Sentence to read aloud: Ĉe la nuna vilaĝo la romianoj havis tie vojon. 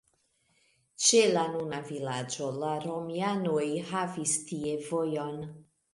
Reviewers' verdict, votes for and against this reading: accepted, 2, 0